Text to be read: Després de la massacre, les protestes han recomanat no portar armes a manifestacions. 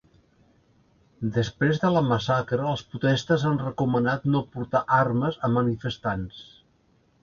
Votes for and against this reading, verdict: 1, 2, rejected